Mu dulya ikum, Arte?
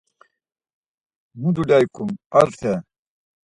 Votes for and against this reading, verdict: 4, 0, accepted